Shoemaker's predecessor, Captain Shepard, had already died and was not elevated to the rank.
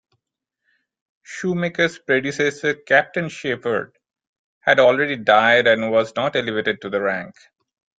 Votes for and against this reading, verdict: 2, 0, accepted